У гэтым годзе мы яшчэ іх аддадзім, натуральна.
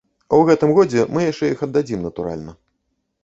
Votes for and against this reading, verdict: 2, 0, accepted